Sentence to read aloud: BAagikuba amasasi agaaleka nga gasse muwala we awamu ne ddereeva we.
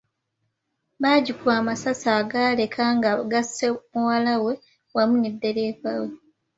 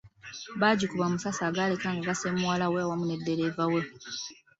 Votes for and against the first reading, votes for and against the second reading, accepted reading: 0, 2, 2, 0, second